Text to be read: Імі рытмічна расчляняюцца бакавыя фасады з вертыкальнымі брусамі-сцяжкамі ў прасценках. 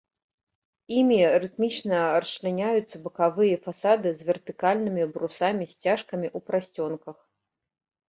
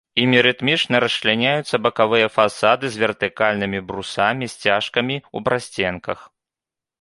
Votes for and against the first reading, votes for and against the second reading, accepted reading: 1, 2, 2, 0, second